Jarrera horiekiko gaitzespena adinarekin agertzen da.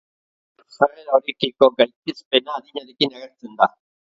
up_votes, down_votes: 0, 2